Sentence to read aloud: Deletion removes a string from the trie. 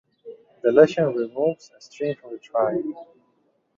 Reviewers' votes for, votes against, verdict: 1, 2, rejected